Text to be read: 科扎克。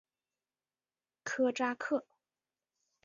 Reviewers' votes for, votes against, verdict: 3, 1, accepted